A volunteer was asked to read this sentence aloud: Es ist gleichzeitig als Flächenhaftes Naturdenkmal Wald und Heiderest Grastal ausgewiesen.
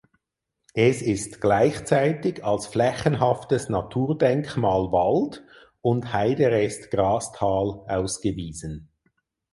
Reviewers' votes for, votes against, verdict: 4, 0, accepted